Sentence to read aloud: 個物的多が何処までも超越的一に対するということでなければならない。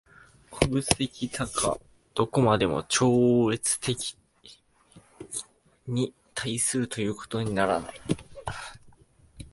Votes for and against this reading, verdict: 1, 2, rejected